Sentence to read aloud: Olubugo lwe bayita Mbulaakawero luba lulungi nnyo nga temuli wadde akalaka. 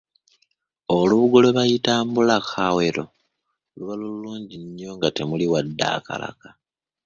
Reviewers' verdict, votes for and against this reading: accepted, 2, 1